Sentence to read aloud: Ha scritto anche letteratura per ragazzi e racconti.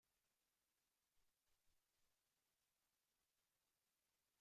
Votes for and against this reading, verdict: 0, 2, rejected